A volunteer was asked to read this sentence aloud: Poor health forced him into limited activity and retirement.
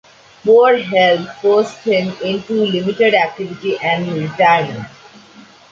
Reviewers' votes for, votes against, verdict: 0, 2, rejected